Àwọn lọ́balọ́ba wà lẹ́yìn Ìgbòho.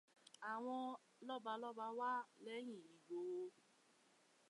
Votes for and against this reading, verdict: 1, 2, rejected